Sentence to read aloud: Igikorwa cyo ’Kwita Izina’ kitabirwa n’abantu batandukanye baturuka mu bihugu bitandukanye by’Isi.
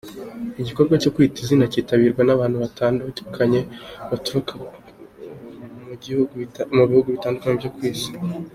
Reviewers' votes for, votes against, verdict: 0, 2, rejected